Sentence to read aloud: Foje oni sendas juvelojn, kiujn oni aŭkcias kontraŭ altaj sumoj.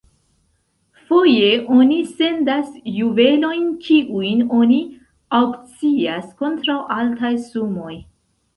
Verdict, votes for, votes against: accepted, 3, 1